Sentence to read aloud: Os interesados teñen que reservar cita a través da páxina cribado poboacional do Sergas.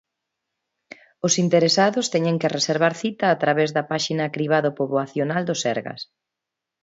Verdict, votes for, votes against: accepted, 2, 0